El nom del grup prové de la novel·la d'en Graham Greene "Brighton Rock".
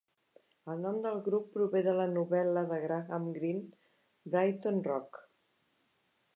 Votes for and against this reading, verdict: 1, 2, rejected